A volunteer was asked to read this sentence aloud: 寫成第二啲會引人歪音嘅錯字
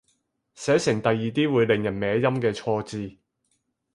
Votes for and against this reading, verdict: 0, 4, rejected